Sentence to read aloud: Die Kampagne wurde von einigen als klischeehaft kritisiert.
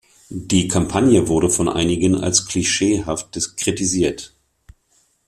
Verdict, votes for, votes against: rejected, 0, 2